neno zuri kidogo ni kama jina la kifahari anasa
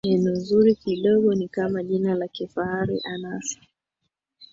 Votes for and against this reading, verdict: 2, 0, accepted